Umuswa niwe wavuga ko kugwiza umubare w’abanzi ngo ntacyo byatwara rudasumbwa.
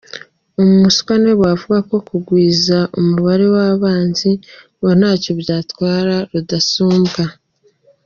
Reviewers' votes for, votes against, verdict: 2, 1, accepted